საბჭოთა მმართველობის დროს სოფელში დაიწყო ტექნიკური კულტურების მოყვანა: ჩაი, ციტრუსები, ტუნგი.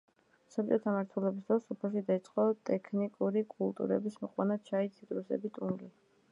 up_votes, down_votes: 1, 2